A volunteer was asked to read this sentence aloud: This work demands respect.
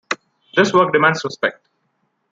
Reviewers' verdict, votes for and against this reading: accepted, 2, 1